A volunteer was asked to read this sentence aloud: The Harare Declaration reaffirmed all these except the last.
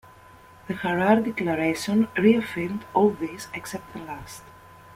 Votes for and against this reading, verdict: 2, 0, accepted